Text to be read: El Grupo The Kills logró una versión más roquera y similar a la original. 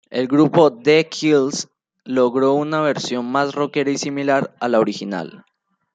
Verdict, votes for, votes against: accepted, 2, 0